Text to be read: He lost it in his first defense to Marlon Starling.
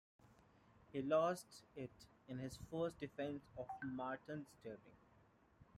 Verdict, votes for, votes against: rejected, 0, 2